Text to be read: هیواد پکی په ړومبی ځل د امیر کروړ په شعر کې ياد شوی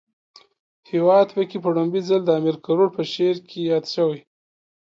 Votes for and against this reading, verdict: 2, 0, accepted